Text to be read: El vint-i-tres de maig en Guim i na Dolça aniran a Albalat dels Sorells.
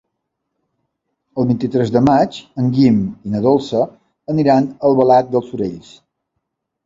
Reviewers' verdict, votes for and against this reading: rejected, 1, 2